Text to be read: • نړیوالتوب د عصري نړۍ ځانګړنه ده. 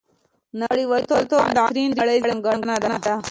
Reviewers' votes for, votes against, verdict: 2, 0, accepted